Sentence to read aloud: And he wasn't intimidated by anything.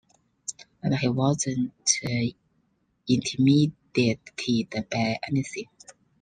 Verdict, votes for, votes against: rejected, 0, 2